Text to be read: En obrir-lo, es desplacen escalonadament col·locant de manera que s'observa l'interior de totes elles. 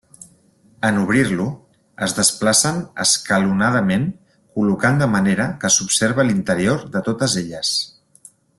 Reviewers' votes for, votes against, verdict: 3, 0, accepted